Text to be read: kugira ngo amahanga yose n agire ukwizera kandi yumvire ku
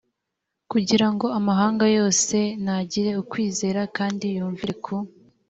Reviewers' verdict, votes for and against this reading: accepted, 2, 0